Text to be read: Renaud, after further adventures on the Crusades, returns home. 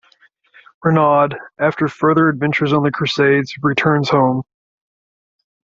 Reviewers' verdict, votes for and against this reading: accepted, 2, 0